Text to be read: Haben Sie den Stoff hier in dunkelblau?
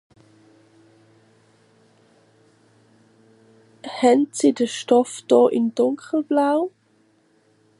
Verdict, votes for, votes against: rejected, 0, 2